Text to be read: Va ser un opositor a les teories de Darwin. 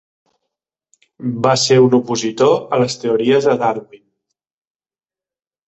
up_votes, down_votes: 2, 0